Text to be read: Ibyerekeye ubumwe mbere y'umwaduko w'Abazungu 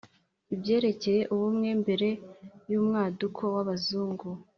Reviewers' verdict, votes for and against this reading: accepted, 2, 0